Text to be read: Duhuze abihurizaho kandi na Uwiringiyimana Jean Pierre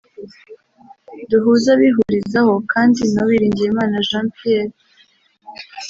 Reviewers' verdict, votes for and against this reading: accepted, 2, 1